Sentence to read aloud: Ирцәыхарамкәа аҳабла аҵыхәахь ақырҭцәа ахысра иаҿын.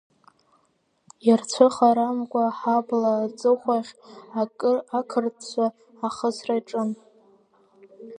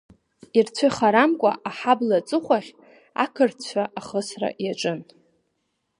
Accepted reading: second